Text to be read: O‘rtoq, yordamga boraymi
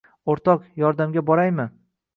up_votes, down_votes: 2, 0